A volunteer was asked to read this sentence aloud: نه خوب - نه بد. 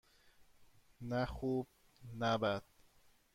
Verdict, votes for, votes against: accepted, 2, 0